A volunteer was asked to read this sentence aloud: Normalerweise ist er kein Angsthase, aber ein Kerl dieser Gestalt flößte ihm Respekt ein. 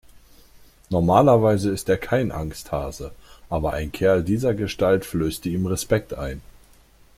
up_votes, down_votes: 2, 0